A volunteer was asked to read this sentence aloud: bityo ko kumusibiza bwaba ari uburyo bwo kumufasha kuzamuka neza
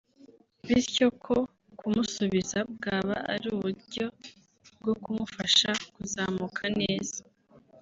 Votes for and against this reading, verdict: 2, 0, accepted